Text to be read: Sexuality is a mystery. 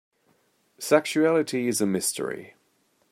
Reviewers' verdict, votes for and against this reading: accepted, 3, 0